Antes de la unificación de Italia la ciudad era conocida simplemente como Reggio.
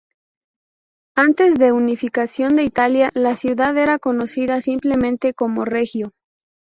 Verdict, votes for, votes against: rejected, 0, 2